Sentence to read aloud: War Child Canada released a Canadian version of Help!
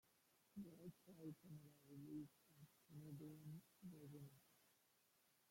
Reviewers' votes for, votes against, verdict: 0, 2, rejected